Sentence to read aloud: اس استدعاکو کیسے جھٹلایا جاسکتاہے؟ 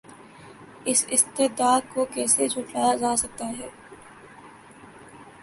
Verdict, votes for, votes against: rejected, 0, 2